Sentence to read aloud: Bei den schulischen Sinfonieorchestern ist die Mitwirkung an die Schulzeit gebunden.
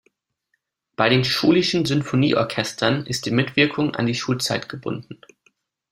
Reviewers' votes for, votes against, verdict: 2, 0, accepted